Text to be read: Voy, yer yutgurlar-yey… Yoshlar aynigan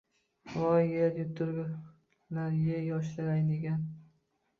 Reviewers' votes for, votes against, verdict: 0, 2, rejected